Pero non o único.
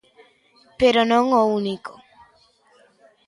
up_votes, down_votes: 2, 0